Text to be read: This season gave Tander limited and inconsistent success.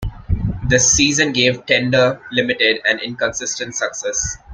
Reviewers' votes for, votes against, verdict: 1, 2, rejected